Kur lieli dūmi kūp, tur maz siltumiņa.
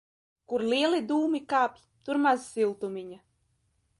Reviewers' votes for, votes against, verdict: 0, 2, rejected